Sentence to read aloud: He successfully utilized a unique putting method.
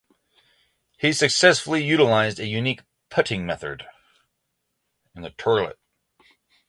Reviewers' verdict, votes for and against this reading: rejected, 0, 27